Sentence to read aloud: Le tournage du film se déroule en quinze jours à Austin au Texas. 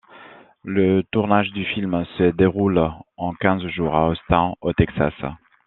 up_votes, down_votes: 0, 2